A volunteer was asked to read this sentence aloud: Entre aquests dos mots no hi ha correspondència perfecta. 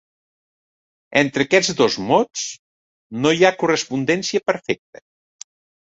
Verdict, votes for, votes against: accepted, 2, 0